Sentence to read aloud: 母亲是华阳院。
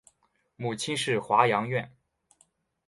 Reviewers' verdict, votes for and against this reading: accepted, 3, 0